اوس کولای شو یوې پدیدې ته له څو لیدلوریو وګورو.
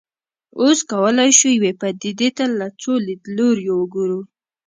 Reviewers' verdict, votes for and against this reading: accepted, 2, 0